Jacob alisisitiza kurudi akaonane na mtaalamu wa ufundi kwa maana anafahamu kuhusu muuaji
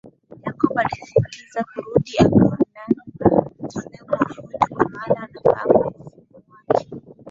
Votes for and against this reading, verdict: 4, 16, rejected